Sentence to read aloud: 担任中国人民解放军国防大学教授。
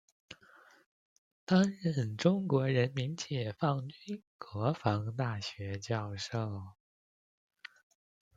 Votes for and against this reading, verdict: 1, 2, rejected